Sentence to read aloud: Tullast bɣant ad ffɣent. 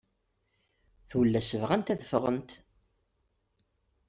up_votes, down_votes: 2, 0